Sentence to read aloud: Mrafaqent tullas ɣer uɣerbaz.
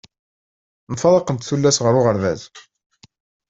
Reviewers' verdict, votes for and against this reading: rejected, 0, 2